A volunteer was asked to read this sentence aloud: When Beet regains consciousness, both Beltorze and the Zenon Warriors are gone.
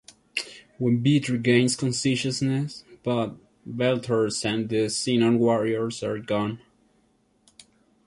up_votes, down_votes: 0, 2